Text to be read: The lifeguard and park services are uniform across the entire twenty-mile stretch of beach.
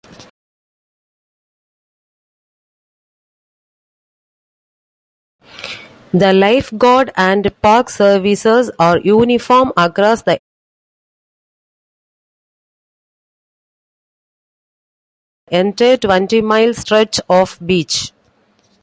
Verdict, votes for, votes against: rejected, 0, 2